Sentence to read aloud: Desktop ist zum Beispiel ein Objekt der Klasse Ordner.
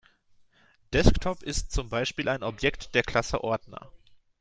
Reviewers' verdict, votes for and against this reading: accepted, 2, 0